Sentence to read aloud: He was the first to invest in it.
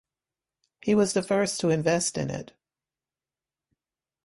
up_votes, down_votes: 2, 0